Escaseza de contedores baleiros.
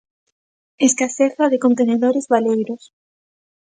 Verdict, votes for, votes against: rejected, 0, 2